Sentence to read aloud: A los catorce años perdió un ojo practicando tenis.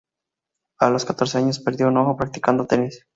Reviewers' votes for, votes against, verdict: 2, 0, accepted